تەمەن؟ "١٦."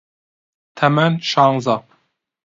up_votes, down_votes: 0, 2